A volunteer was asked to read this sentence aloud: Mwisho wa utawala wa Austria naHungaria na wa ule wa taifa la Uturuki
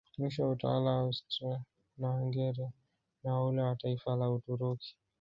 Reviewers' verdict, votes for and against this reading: rejected, 1, 2